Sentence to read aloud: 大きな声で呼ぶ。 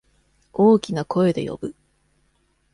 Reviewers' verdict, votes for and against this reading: accepted, 2, 0